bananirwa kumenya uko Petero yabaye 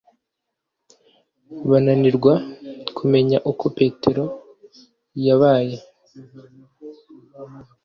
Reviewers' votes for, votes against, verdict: 2, 0, accepted